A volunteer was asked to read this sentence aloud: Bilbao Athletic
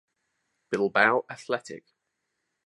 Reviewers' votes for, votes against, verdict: 2, 0, accepted